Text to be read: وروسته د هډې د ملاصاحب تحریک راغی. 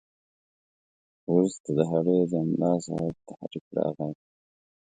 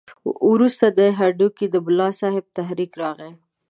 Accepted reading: first